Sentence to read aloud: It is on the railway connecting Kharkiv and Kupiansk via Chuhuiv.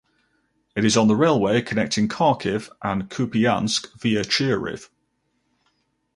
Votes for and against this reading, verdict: 4, 0, accepted